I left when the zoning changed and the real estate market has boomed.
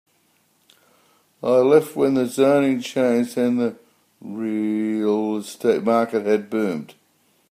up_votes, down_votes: 0, 2